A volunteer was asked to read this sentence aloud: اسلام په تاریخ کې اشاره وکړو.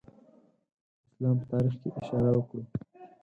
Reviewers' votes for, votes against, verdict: 0, 4, rejected